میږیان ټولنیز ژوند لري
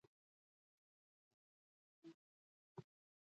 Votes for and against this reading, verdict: 0, 2, rejected